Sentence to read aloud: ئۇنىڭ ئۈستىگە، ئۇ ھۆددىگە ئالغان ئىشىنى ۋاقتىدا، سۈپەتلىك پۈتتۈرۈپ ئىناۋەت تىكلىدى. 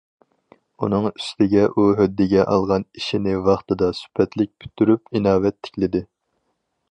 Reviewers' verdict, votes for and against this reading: accepted, 4, 0